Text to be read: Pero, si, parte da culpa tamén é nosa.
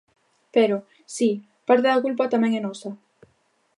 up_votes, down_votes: 2, 0